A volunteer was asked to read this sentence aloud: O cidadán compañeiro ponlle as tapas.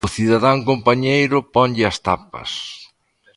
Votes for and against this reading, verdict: 2, 0, accepted